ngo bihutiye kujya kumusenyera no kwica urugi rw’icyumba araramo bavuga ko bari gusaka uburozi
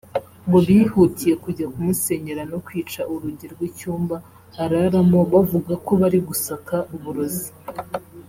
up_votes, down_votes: 2, 0